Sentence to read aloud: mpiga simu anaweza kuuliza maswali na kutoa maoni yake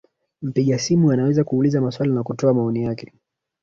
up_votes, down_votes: 0, 2